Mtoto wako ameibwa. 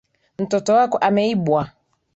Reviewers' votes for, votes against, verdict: 4, 0, accepted